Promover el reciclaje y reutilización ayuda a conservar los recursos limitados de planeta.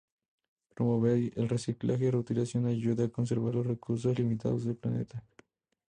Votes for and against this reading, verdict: 2, 0, accepted